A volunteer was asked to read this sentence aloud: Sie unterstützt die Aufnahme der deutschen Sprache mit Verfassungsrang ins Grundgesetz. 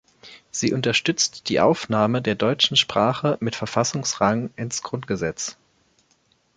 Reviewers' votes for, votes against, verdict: 3, 0, accepted